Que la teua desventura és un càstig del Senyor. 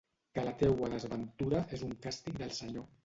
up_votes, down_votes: 1, 2